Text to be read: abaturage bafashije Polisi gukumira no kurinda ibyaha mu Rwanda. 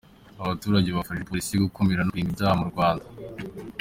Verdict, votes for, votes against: accepted, 2, 0